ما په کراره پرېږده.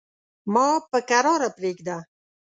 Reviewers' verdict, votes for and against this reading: accepted, 2, 0